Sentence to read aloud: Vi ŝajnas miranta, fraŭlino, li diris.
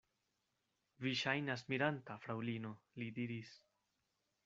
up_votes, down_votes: 2, 0